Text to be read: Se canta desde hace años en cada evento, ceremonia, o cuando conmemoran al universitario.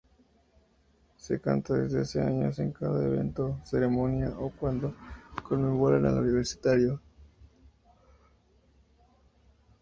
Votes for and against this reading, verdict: 0, 2, rejected